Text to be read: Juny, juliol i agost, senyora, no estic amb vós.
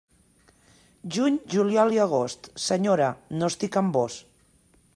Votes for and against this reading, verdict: 2, 0, accepted